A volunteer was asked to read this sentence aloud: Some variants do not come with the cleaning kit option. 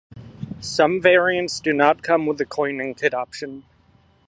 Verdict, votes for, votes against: accepted, 2, 0